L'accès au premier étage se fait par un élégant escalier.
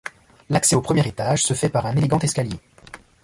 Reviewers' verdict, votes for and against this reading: accepted, 2, 0